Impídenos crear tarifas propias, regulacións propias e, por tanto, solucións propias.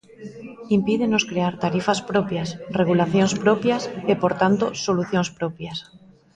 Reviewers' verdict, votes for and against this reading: rejected, 1, 2